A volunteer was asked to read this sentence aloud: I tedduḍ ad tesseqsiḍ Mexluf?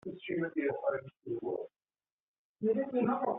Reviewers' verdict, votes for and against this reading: rejected, 0, 2